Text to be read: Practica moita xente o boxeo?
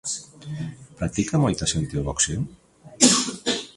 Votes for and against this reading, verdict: 0, 2, rejected